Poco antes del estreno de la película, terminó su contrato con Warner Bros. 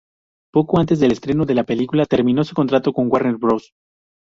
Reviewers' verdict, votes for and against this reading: accepted, 2, 0